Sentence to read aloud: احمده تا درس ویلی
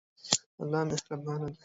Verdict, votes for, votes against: rejected, 1, 2